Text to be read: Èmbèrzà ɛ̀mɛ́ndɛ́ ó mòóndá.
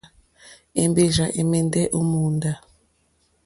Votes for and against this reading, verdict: 2, 0, accepted